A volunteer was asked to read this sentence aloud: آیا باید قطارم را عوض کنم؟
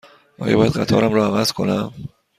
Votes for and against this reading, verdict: 2, 0, accepted